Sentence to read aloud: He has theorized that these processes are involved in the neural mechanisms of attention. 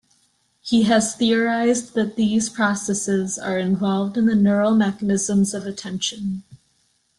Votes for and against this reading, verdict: 2, 0, accepted